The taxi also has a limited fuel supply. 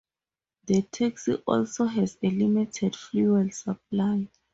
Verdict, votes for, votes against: accepted, 2, 0